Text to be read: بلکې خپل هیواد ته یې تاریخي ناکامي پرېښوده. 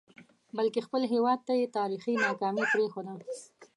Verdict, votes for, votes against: accepted, 2, 0